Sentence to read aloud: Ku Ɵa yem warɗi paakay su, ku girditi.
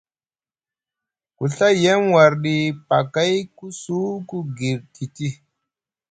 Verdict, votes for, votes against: rejected, 1, 2